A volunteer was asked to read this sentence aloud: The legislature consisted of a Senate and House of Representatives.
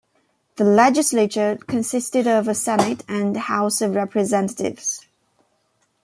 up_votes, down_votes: 2, 0